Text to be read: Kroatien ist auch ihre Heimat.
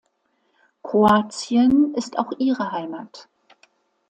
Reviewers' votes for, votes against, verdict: 2, 0, accepted